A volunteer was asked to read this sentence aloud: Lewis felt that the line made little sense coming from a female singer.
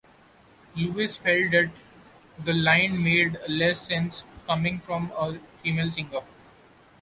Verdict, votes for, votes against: rejected, 1, 2